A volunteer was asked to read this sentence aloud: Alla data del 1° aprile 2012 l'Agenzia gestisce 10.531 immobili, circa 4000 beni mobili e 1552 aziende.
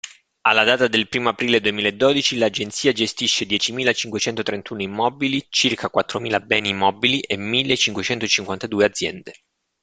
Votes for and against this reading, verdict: 0, 2, rejected